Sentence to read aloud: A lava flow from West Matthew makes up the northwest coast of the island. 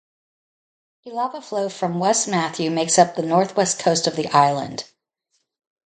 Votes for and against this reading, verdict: 2, 2, rejected